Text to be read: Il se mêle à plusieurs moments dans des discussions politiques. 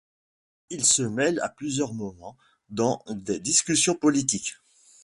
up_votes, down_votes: 2, 0